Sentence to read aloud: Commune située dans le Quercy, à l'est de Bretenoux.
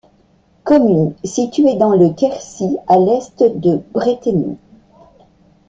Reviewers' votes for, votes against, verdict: 2, 0, accepted